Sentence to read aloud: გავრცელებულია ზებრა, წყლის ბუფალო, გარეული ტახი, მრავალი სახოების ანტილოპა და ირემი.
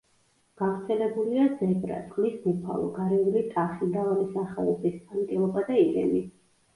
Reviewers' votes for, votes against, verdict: 1, 2, rejected